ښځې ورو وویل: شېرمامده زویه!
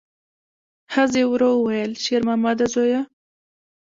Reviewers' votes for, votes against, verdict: 3, 2, accepted